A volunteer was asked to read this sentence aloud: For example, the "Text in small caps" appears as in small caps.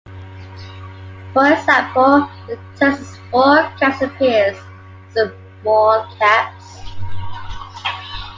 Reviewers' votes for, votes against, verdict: 2, 0, accepted